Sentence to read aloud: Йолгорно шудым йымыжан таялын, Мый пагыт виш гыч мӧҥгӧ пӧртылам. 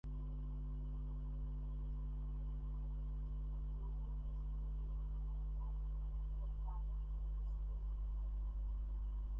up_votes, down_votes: 0, 2